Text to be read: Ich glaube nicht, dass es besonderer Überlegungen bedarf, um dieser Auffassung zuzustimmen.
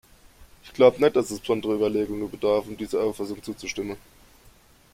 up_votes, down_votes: 1, 2